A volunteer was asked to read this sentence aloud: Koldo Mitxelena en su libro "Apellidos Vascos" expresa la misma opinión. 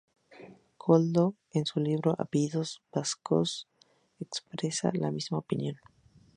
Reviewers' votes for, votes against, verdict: 0, 2, rejected